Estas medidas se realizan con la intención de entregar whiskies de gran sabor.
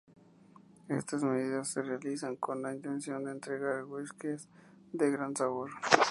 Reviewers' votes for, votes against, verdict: 4, 0, accepted